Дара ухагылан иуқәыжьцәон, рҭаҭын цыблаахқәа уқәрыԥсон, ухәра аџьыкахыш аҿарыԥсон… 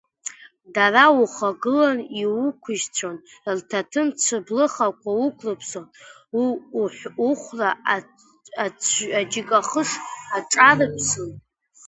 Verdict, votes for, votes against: rejected, 0, 2